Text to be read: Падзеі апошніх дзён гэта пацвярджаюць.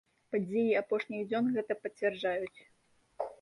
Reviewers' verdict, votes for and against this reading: accepted, 2, 0